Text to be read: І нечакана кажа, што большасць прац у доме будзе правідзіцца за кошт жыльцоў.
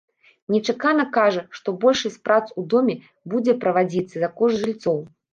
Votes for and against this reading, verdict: 1, 2, rejected